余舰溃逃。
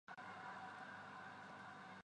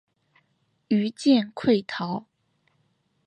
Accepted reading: second